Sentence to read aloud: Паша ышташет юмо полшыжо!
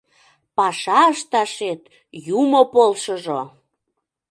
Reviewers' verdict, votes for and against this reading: accepted, 2, 0